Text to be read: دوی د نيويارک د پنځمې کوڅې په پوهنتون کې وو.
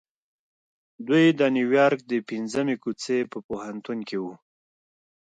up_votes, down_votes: 2, 0